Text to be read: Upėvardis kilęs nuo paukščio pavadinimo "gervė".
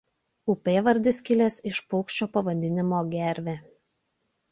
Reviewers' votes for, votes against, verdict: 0, 2, rejected